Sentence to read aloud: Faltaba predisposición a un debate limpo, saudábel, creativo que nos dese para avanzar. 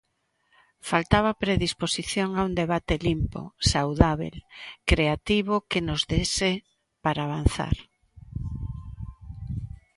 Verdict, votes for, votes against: accepted, 2, 0